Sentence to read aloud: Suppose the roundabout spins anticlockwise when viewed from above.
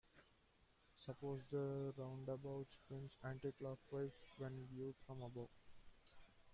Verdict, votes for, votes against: rejected, 0, 2